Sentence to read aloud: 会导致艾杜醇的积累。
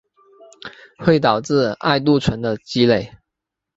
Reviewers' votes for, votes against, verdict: 5, 1, accepted